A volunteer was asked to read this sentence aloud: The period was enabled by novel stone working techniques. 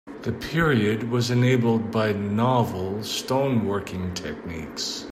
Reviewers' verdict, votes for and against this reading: accepted, 2, 0